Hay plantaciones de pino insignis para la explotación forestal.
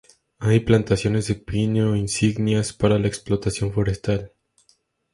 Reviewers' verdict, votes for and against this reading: rejected, 0, 2